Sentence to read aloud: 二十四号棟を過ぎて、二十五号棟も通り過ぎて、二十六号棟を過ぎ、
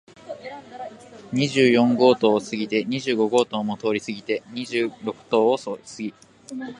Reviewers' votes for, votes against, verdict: 1, 2, rejected